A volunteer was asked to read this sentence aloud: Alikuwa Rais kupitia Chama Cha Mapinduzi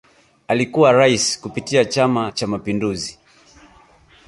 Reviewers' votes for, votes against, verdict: 3, 0, accepted